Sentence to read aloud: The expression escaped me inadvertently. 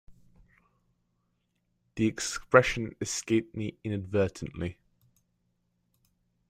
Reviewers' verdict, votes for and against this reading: accepted, 2, 0